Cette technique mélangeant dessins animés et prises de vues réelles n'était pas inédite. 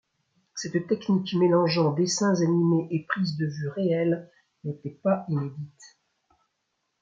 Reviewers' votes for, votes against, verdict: 2, 0, accepted